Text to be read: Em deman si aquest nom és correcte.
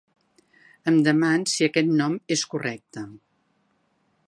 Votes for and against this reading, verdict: 3, 0, accepted